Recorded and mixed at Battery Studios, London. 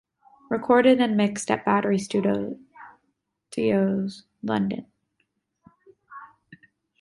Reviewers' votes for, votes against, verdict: 0, 2, rejected